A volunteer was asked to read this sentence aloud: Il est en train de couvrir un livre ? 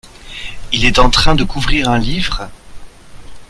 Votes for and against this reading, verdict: 2, 0, accepted